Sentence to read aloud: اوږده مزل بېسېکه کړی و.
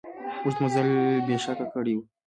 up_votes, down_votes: 2, 0